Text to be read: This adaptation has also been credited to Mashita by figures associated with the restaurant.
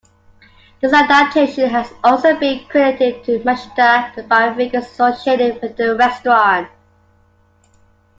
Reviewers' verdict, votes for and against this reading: accepted, 2, 1